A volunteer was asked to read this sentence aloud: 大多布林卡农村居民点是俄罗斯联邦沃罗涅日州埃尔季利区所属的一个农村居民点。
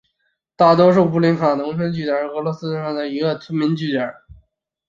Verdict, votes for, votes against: rejected, 0, 2